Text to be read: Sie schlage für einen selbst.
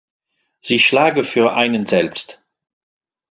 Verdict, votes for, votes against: accepted, 2, 0